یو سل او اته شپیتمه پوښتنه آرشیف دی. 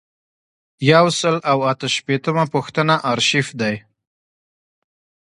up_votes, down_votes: 2, 0